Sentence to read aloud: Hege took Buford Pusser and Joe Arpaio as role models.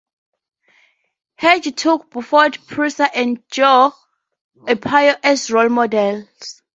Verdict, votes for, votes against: rejected, 2, 2